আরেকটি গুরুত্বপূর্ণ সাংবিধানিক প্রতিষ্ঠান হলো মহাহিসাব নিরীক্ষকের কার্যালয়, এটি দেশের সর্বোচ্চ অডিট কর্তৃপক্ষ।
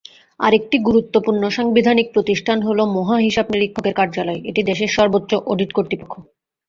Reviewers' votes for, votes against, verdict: 0, 2, rejected